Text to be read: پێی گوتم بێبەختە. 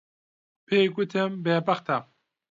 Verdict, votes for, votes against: accepted, 2, 0